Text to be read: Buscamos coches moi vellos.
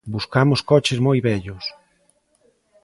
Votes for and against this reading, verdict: 2, 0, accepted